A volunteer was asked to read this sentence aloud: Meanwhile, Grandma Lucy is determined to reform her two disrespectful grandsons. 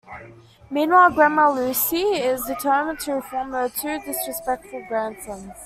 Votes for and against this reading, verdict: 2, 0, accepted